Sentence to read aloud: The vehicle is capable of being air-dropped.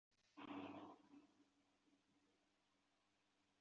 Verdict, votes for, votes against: rejected, 0, 2